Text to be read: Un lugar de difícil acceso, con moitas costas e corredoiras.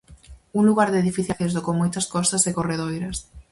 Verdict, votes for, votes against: rejected, 2, 2